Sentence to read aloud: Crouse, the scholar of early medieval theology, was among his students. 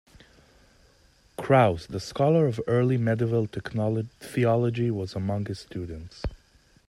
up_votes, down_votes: 0, 2